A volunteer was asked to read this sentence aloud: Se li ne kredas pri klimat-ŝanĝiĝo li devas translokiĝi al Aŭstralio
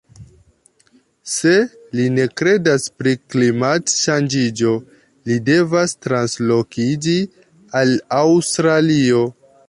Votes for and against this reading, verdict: 2, 0, accepted